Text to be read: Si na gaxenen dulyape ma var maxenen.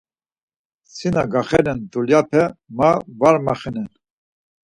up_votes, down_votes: 4, 0